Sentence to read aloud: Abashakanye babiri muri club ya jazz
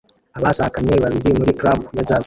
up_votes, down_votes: 1, 2